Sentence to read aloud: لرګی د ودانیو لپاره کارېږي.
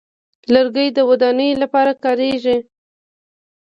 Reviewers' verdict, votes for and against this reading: accepted, 2, 0